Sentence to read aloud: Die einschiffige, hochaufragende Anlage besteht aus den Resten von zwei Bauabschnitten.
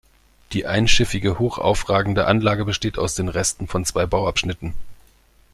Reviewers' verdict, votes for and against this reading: accepted, 2, 0